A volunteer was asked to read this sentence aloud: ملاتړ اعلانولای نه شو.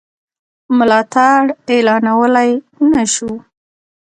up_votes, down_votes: 1, 2